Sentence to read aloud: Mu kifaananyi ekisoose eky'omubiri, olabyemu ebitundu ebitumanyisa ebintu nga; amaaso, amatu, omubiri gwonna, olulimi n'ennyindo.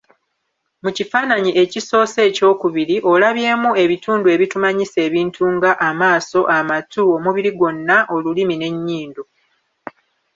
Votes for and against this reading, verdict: 2, 2, rejected